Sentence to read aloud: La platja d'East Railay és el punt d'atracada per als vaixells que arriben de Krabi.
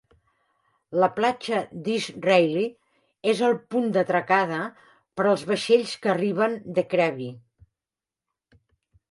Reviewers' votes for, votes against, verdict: 3, 0, accepted